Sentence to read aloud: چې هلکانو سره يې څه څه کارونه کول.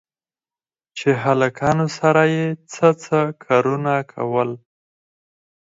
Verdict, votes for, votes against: rejected, 2, 4